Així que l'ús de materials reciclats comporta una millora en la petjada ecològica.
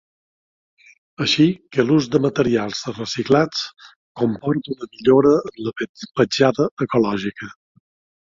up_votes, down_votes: 0, 2